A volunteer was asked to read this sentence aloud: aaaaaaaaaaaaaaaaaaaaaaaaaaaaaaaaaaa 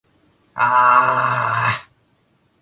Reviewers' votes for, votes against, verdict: 2, 3, rejected